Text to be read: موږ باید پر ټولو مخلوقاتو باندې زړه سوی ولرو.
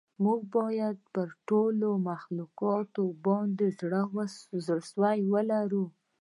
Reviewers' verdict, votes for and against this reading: rejected, 1, 2